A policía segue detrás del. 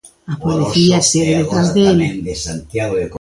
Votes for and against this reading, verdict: 0, 3, rejected